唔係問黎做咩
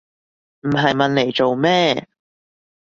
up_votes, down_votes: 2, 0